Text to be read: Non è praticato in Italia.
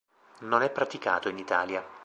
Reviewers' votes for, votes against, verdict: 2, 0, accepted